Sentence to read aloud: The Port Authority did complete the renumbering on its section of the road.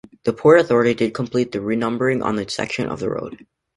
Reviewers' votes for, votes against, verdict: 2, 0, accepted